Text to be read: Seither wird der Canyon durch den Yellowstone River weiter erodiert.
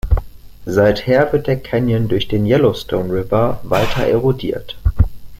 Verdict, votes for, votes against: rejected, 0, 2